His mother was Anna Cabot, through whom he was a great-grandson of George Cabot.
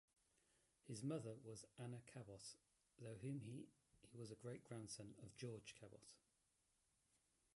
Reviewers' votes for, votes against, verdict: 0, 2, rejected